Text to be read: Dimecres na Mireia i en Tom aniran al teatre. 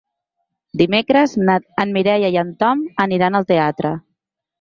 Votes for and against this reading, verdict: 0, 2, rejected